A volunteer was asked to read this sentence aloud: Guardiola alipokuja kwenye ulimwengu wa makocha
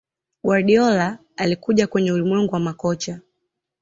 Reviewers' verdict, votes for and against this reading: accepted, 2, 1